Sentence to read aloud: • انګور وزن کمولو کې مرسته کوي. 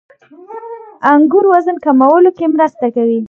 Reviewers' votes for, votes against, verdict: 2, 0, accepted